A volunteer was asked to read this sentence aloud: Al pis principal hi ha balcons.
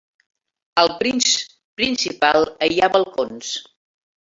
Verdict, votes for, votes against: rejected, 1, 2